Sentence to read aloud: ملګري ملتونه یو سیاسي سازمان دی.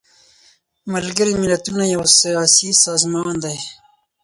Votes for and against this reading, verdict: 4, 0, accepted